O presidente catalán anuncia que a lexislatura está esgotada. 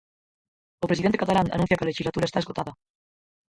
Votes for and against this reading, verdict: 0, 4, rejected